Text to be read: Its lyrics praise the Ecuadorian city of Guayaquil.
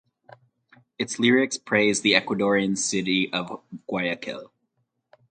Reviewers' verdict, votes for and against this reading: rejected, 0, 2